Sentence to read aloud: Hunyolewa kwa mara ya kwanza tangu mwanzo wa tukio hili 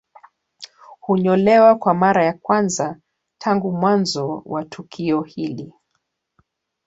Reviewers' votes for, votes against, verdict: 2, 1, accepted